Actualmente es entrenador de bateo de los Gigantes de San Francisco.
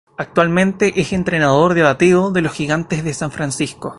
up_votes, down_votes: 0, 2